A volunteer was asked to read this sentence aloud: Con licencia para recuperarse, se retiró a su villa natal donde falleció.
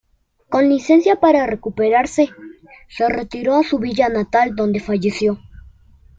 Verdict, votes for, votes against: accepted, 2, 0